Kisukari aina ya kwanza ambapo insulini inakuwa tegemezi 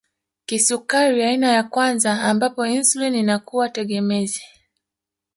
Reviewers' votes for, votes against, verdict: 0, 2, rejected